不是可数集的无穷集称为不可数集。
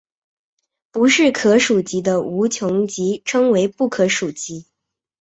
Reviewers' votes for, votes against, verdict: 2, 0, accepted